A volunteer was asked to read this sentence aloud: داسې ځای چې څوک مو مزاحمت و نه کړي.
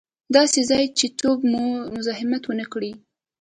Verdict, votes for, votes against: rejected, 0, 2